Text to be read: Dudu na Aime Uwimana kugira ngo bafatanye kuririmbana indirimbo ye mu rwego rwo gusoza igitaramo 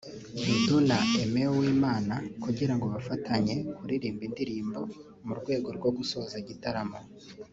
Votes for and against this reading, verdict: 0, 3, rejected